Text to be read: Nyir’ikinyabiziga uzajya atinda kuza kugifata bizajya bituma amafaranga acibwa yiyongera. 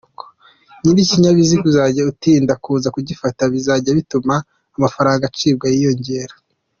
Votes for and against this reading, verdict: 3, 1, accepted